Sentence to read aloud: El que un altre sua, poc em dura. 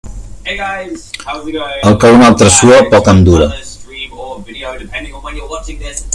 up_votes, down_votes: 0, 2